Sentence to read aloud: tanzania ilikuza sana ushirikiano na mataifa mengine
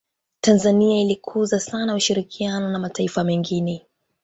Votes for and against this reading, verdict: 2, 0, accepted